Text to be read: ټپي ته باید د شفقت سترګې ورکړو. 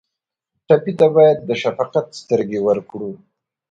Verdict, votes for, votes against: accepted, 2, 0